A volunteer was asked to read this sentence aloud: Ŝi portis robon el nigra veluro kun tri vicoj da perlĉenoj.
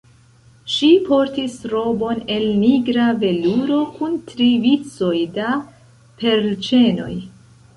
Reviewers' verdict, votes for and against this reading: accepted, 2, 0